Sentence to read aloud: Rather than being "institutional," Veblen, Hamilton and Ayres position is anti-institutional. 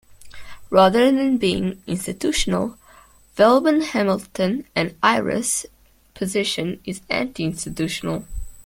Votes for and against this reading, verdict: 0, 2, rejected